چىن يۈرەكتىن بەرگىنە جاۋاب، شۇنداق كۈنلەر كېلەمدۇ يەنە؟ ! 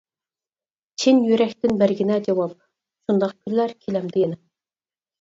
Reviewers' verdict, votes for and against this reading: accepted, 4, 0